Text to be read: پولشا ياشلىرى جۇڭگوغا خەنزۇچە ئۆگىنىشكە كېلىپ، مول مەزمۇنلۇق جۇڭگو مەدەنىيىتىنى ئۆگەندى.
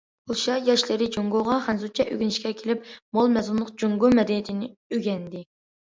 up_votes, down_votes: 2, 0